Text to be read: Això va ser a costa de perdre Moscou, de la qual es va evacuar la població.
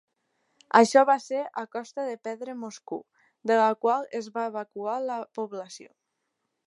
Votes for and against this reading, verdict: 2, 0, accepted